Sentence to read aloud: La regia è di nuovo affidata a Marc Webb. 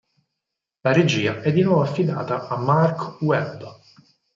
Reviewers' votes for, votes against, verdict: 4, 0, accepted